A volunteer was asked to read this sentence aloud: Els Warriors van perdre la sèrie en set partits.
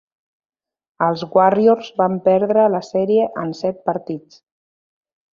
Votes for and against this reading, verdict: 2, 0, accepted